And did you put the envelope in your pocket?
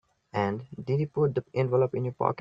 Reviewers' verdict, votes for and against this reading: rejected, 2, 3